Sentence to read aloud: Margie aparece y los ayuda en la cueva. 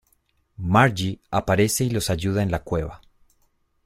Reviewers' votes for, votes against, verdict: 2, 0, accepted